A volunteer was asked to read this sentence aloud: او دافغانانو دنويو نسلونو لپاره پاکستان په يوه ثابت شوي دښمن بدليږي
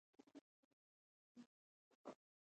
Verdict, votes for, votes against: rejected, 1, 2